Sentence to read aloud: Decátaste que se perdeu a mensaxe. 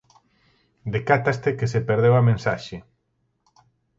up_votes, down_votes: 4, 0